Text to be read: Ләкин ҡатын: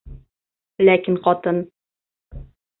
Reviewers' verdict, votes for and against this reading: accepted, 3, 0